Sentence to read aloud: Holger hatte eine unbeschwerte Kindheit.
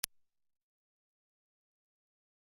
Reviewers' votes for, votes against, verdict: 0, 2, rejected